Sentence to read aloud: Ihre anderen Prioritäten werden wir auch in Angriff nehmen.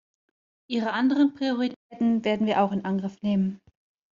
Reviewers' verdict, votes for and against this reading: rejected, 1, 2